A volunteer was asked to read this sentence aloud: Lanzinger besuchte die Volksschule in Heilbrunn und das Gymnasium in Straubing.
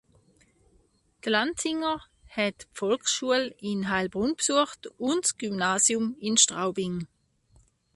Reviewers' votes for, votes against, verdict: 0, 3, rejected